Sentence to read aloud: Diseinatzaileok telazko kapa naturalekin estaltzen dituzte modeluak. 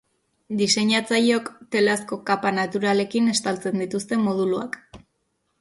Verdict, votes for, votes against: rejected, 1, 2